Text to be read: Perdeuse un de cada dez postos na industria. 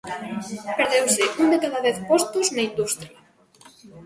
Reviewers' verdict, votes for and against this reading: rejected, 0, 2